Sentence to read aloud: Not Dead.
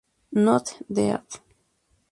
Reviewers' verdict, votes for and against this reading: rejected, 2, 2